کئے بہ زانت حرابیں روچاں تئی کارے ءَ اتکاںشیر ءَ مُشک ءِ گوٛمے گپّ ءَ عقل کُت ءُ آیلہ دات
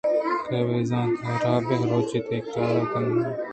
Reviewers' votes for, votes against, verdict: 1, 2, rejected